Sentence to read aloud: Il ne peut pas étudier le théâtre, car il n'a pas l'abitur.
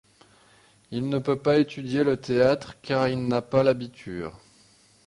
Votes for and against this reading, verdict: 2, 0, accepted